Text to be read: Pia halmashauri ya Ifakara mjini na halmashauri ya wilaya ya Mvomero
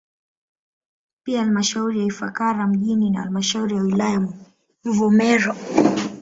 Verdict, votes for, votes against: rejected, 1, 2